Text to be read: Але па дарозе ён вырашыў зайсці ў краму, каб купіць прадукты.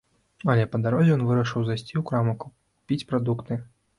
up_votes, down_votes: 1, 2